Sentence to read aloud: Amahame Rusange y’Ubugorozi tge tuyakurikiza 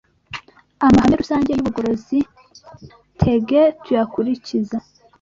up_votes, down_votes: 1, 2